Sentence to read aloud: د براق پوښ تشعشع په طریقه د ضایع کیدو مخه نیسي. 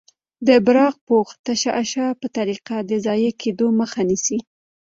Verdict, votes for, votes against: accepted, 2, 1